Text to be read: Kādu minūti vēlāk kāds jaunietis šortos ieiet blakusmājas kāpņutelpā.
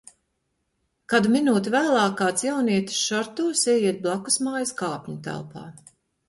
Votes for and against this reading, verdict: 2, 0, accepted